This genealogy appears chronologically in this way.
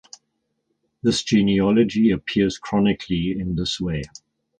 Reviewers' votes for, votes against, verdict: 0, 4, rejected